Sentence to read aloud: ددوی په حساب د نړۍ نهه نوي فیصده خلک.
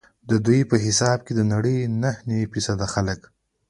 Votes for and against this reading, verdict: 2, 0, accepted